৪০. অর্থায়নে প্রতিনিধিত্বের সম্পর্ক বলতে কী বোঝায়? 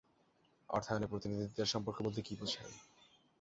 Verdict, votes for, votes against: rejected, 0, 2